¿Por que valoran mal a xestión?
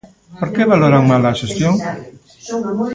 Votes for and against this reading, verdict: 1, 2, rejected